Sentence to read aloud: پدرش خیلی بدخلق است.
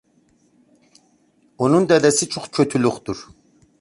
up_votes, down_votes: 0, 2